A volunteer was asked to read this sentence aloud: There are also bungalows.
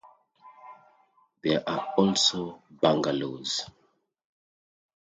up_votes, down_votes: 2, 0